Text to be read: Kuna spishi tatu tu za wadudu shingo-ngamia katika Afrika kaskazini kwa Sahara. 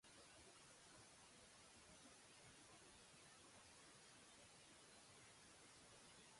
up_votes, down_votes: 0, 2